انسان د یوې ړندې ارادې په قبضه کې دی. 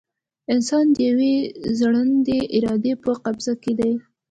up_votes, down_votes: 1, 2